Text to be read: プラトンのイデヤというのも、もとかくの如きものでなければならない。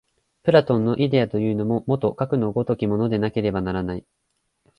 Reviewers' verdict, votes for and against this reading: accepted, 2, 0